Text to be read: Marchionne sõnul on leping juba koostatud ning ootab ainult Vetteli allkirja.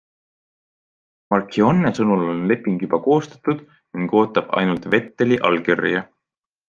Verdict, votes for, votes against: accepted, 2, 0